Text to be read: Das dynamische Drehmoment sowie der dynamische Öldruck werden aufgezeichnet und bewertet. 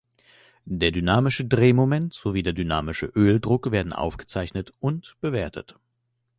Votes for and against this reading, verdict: 0, 2, rejected